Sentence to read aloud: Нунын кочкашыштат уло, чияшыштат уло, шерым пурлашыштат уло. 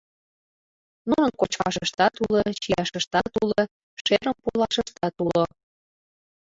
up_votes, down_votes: 0, 2